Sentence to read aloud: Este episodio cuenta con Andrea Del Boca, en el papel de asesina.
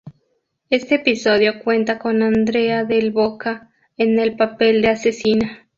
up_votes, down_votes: 2, 0